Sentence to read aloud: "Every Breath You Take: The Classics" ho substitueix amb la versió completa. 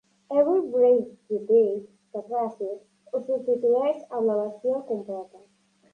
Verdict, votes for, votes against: rejected, 1, 2